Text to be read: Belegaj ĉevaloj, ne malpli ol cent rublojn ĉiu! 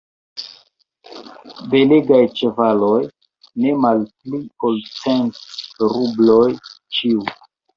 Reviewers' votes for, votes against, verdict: 0, 2, rejected